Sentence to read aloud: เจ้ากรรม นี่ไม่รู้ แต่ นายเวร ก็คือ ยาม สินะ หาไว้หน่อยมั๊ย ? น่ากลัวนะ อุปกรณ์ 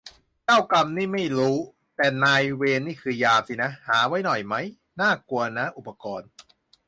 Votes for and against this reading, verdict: 0, 2, rejected